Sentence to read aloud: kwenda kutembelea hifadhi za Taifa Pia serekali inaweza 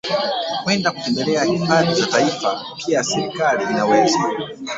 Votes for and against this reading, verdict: 1, 2, rejected